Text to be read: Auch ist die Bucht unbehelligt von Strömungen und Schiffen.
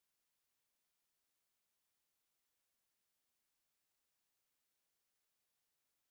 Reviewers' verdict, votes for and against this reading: rejected, 0, 4